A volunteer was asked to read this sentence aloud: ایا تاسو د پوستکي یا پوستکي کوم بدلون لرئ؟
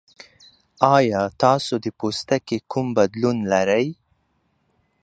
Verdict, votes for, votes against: rejected, 1, 2